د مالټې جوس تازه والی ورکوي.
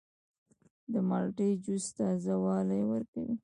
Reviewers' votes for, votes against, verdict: 1, 2, rejected